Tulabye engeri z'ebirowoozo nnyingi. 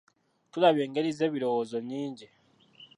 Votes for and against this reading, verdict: 0, 2, rejected